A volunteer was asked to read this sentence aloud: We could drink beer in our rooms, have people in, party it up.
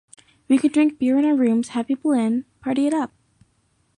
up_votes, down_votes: 2, 0